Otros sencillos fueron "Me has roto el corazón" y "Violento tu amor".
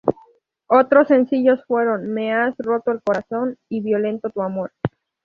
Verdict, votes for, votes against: accepted, 2, 0